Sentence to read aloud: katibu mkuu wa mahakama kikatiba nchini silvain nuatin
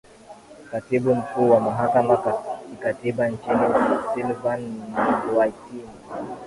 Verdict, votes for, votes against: accepted, 2, 1